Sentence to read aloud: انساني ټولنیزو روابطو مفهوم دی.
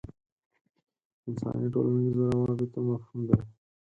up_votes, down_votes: 2, 4